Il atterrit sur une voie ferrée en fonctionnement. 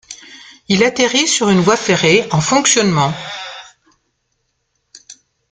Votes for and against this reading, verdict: 1, 2, rejected